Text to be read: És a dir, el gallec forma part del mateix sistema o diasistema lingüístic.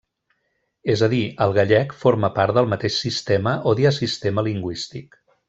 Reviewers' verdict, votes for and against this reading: accepted, 2, 0